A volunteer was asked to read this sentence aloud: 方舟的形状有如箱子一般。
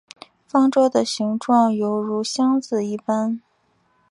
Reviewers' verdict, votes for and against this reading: accepted, 4, 0